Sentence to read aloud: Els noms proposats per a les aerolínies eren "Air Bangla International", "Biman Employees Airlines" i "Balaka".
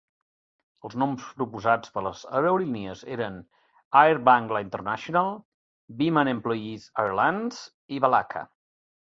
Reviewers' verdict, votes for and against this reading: accepted, 2, 0